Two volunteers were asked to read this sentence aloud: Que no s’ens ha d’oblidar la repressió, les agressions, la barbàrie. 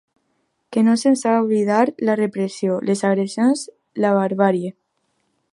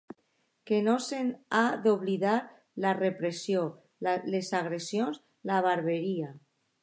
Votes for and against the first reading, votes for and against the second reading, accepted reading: 2, 0, 0, 2, first